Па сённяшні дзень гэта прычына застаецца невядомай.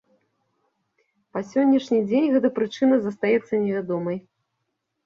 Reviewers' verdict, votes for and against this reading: accepted, 2, 0